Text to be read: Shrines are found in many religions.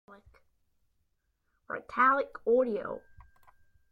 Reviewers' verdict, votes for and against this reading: rejected, 0, 2